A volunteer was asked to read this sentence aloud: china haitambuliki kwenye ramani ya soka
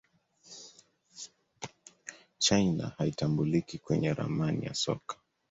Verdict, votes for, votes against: accepted, 2, 0